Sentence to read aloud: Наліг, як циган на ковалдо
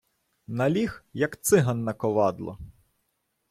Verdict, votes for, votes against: rejected, 1, 2